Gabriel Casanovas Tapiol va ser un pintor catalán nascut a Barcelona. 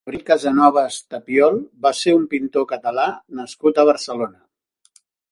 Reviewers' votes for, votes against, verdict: 1, 2, rejected